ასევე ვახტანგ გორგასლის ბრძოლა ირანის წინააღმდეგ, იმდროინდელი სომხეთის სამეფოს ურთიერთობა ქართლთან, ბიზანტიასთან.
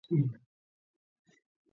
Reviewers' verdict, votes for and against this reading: rejected, 0, 2